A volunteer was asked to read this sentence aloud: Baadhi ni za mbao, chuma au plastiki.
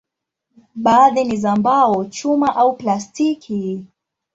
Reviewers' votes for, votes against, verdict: 2, 0, accepted